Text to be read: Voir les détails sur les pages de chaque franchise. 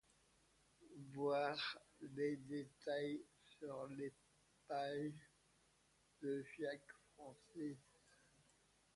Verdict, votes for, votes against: rejected, 1, 2